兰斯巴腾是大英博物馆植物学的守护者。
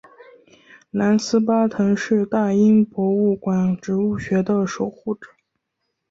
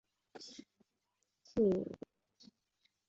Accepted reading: first